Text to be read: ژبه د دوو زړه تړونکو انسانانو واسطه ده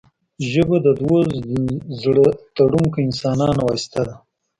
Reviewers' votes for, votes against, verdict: 0, 2, rejected